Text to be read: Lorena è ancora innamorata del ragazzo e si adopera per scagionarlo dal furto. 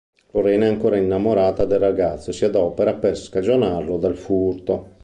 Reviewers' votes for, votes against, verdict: 3, 0, accepted